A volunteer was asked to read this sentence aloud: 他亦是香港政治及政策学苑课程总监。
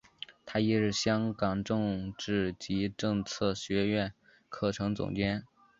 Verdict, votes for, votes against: accepted, 3, 0